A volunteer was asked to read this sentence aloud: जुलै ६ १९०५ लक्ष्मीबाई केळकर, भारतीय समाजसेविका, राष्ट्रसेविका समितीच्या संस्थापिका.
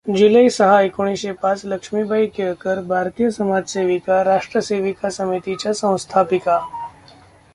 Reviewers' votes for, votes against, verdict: 0, 2, rejected